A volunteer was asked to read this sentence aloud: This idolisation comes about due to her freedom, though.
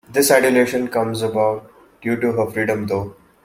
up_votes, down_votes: 1, 2